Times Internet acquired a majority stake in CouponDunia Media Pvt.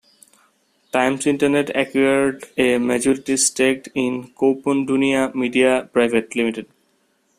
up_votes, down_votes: 0, 2